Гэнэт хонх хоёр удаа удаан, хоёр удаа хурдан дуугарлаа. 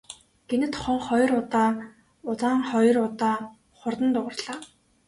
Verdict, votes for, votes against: rejected, 0, 2